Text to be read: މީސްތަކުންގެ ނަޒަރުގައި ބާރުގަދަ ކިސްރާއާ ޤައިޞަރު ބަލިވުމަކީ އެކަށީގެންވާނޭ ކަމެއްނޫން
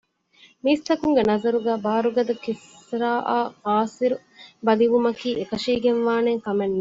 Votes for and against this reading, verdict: 1, 2, rejected